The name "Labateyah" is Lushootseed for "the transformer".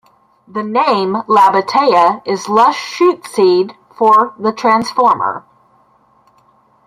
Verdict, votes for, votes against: rejected, 0, 2